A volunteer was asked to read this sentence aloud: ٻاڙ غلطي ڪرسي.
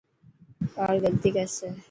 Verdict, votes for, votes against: accepted, 2, 0